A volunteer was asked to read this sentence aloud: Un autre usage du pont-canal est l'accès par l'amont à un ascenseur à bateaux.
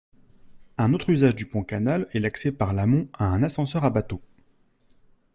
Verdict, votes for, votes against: accepted, 2, 0